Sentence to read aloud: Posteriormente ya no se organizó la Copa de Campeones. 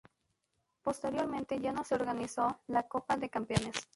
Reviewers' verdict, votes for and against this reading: accepted, 2, 0